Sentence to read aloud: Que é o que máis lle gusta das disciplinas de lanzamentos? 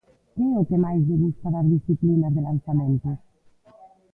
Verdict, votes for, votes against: rejected, 1, 2